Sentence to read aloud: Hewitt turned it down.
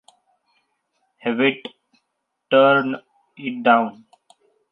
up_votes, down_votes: 1, 2